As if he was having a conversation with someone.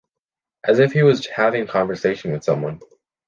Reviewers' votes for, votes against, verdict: 0, 2, rejected